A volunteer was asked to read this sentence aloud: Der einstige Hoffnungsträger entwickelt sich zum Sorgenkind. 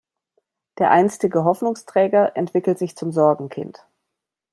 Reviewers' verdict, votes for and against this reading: accepted, 2, 0